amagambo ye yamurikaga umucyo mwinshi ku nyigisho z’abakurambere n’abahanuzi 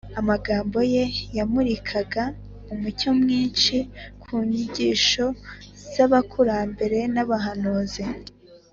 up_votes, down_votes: 4, 0